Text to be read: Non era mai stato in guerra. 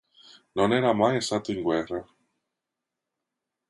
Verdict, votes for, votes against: accepted, 2, 0